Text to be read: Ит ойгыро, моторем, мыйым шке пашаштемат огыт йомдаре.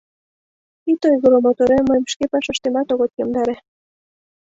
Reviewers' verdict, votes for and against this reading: accepted, 2, 0